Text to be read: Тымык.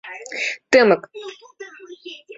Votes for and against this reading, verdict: 2, 1, accepted